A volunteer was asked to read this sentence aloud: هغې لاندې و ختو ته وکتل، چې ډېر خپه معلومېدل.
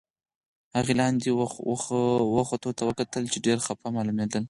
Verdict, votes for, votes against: accepted, 4, 2